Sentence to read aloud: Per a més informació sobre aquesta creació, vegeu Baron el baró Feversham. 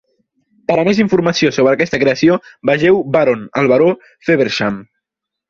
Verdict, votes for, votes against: accepted, 4, 0